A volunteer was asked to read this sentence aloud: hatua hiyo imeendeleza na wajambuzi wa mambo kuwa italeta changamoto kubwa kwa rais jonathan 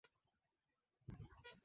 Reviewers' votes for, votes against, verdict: 1, 6, rejected